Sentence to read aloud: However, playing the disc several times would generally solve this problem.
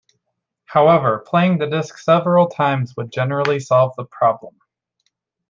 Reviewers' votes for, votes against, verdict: 0, 2, rejected